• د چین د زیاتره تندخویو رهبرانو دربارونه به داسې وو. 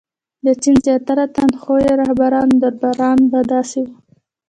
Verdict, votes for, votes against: rejected, 1, 2